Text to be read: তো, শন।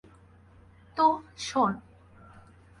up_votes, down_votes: 4, 0